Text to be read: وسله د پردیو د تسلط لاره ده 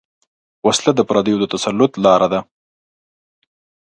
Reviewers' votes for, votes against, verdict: 3, 0, accepted